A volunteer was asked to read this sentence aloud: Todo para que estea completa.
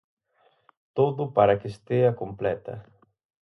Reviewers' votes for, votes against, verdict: 4, 0, accepted